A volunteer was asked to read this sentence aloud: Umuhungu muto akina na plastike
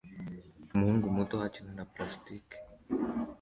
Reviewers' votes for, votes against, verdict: 2, 0, accepted